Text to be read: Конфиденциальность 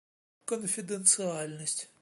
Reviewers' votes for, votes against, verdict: 2, 0, accepted